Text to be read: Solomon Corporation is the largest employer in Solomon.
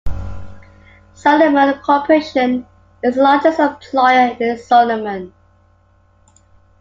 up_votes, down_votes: 2, 0